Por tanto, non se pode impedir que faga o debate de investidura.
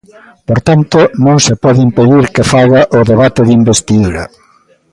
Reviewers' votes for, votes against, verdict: 2, 0, accepted